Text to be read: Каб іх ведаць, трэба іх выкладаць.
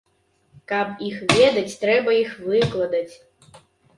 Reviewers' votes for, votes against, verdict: 2, 1, accepted